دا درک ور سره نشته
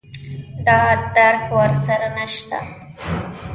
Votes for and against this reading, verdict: 1, 2, rejected